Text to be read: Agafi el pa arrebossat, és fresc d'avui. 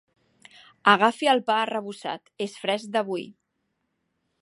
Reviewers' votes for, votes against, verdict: 3, 1, accepted